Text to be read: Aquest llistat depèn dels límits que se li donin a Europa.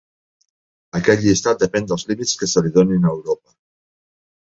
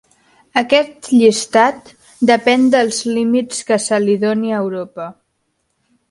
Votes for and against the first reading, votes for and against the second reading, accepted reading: 2, 0, 1, 2, first